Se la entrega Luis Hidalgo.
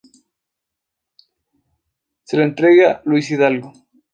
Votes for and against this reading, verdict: 2, 0, accepted